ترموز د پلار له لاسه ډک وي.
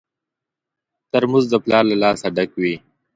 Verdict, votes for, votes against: accepted, 3, 0